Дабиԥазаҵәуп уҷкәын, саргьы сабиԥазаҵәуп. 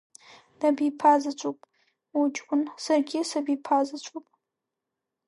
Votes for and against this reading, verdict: 2, 0, accepted